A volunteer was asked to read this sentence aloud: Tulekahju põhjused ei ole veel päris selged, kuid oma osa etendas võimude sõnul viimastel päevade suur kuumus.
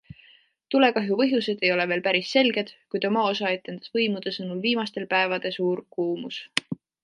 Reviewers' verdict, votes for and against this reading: accepted, 2, 0